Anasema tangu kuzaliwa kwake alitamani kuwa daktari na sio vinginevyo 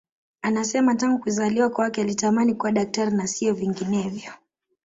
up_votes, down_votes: 2, 0